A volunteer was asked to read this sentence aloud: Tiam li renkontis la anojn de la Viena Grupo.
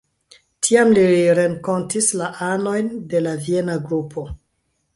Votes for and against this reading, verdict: 2, 0, accepted